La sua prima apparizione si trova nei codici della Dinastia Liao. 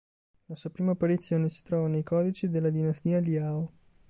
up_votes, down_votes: 2, 0